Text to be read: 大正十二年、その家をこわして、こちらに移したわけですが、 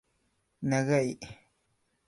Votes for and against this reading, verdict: 1, 2, rejected